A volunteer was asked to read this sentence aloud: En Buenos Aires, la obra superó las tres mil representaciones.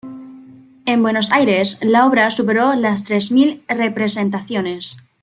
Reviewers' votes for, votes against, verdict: 2, 0, accepted